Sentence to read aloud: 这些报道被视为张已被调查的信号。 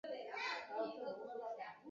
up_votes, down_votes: 0, 3